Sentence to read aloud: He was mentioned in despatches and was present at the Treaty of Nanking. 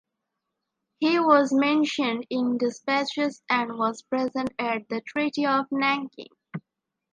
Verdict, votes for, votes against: accepted, 2, 0